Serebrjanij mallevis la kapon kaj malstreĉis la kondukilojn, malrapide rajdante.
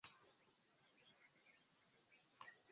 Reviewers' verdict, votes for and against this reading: rejected, 1, 2